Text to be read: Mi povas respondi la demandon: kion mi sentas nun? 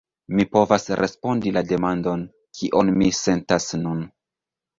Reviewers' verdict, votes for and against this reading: rejected, 1, 2